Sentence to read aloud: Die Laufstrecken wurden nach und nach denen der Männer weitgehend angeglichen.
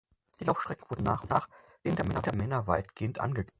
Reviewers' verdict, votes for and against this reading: rejected, 0, 4